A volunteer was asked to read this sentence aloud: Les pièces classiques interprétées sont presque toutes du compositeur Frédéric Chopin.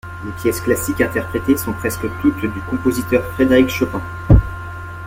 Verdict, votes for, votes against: rejected, 0, 2